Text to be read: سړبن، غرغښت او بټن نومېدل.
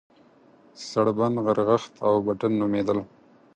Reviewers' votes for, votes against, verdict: 4, 0, accepted